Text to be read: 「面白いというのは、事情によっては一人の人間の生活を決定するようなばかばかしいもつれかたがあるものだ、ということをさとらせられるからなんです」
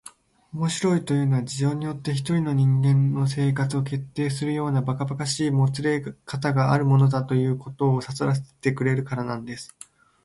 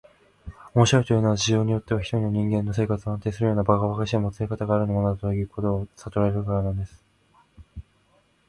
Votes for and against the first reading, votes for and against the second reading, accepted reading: 5, 4, 1, 2, first